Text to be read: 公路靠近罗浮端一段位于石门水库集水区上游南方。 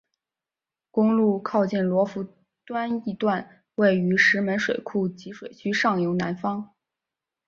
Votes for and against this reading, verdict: 2, 0, accepted